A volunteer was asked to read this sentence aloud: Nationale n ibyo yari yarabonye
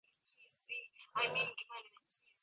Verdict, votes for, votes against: rejected, 0, 2